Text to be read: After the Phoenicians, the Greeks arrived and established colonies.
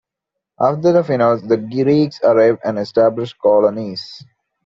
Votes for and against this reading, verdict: 0, 2, rejected